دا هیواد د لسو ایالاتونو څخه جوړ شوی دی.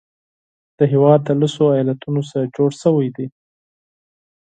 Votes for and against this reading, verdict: 4, 0, accepted